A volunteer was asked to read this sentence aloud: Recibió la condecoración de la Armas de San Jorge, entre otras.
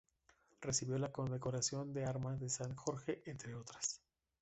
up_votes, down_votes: 1, 2